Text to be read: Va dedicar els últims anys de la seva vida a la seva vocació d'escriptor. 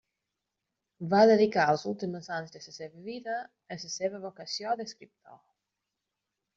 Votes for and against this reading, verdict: 0, 2, rejected